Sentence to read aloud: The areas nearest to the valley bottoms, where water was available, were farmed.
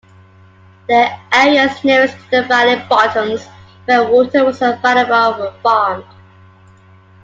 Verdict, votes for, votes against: accepted, 2, 1